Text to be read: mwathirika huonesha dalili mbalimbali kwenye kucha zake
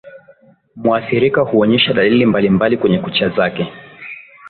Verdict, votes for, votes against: accepted, 2, 1